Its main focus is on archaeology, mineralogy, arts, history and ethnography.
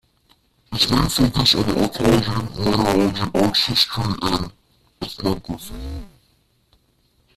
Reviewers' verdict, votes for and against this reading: rejected, 0, 2